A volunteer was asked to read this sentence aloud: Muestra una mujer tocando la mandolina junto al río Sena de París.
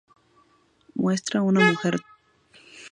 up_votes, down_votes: 0, 2